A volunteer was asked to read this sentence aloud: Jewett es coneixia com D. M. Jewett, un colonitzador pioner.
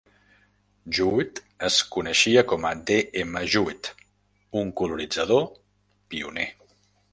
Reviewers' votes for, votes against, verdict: 1, 2, rejected